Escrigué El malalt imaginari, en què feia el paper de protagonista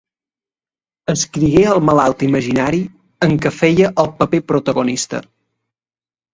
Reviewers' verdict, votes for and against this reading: rejected, 1, 2